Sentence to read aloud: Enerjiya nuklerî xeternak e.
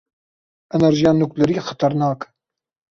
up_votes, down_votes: 1, 2